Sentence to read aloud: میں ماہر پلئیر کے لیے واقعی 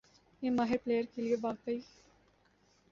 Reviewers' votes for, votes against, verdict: 2, 1, accepted